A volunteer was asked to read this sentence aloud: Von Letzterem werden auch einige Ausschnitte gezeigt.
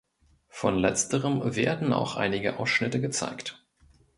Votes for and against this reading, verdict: 2, 0, accepted